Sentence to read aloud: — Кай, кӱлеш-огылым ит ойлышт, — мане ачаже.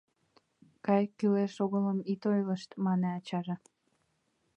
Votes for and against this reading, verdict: 2, 0, accepted